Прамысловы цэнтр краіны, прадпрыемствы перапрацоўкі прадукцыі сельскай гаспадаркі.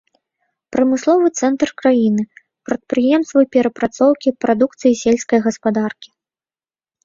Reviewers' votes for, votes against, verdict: 2, 0, accepted